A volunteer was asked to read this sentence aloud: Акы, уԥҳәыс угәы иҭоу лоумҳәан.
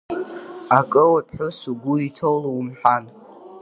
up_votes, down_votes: 0, 2